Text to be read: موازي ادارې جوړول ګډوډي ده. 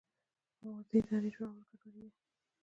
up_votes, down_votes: 1, 2